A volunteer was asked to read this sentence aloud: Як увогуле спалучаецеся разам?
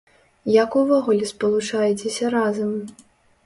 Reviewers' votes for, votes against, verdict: 2, 0, accepted